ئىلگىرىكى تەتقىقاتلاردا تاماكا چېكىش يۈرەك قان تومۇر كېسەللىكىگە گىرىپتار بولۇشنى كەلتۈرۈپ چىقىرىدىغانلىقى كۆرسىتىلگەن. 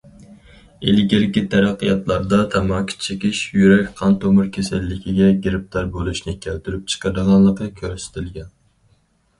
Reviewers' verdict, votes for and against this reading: rejected, 0, 4